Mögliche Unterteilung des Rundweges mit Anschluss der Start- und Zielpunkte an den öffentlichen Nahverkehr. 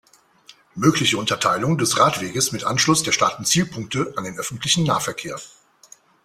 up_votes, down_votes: 1, 2